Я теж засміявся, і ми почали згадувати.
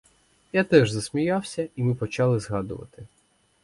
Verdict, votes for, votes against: accepted, 4, 0